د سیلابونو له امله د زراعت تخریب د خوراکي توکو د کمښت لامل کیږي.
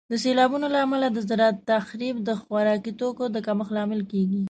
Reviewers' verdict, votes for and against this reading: accepted, 2, 0